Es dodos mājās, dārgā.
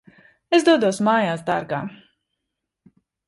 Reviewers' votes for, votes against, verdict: 2, 0, accepted